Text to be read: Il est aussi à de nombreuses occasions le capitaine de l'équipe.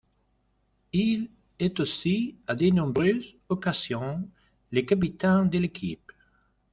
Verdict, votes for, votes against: accepted, 2, 0